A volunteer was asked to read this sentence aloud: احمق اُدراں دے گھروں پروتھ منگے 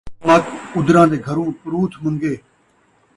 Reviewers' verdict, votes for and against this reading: rejected, 0, 2